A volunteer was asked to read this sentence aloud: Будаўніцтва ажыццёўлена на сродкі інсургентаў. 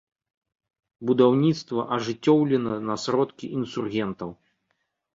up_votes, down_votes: 2, 0